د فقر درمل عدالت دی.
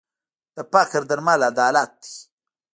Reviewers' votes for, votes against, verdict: 0, 2, rejected